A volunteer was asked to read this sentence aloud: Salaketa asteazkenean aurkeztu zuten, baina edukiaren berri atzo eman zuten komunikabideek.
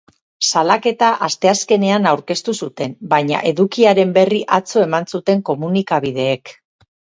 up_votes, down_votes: 0, 4